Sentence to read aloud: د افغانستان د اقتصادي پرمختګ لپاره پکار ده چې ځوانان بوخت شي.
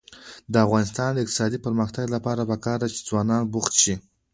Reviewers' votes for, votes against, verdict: 2, 0, accepted